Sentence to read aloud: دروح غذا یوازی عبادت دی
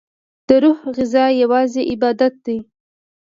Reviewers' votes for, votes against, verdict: 2, 0, accepted